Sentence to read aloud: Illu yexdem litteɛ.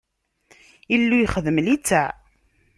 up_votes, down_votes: 2, 0